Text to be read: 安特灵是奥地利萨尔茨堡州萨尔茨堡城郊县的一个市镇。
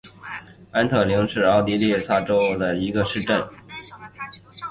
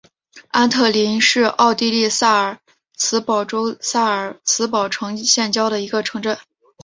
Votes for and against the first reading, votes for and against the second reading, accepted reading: 2, 0, 0, 3, first